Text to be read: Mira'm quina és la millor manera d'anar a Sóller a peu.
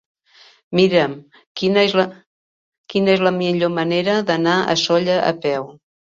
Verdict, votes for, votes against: rejected, 0, 2